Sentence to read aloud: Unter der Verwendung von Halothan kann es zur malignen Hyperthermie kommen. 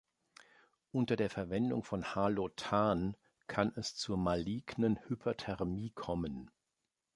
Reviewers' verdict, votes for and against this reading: rejected, 1, 2